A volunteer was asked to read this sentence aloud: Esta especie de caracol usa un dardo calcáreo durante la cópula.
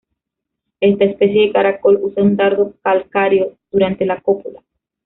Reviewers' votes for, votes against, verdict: 1, 2, rejected